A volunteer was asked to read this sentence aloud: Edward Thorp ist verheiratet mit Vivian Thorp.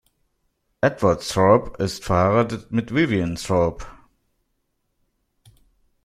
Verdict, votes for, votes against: accepted, 2, 1